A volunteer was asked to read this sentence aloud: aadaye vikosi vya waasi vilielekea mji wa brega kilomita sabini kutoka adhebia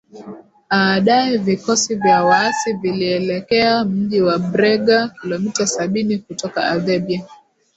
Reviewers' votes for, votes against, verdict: 2, 4, rejected